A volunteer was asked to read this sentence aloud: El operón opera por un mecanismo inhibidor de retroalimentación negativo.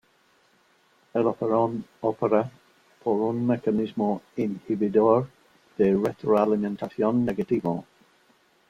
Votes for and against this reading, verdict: 2, 0, accepted